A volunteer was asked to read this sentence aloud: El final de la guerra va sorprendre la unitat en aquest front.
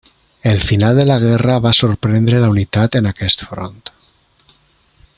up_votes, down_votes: 3, 0